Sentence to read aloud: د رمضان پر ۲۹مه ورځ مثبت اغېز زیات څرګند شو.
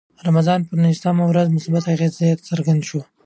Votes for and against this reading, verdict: 0, 2, rejected